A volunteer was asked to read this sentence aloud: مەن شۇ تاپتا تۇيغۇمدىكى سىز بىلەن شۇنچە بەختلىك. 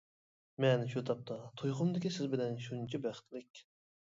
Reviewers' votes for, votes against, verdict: 2, 0, accepted